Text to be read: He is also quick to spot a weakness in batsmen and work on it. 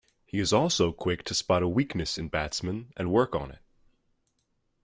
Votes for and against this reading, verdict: 2, 0, accepted